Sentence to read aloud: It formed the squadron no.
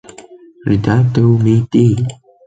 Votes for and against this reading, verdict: 1, 2, rejected